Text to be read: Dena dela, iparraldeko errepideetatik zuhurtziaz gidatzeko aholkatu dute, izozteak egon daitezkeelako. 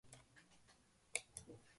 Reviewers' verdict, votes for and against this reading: rejected, 0, 2